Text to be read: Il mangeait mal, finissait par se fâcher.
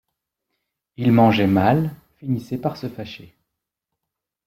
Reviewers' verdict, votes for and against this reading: accepted, 2, 0